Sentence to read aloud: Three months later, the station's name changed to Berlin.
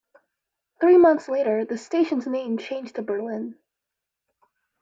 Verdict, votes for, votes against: accepted, 2, 0